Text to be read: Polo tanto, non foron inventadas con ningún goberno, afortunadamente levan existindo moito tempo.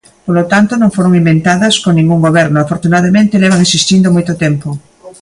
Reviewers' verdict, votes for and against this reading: accepted, 2, 0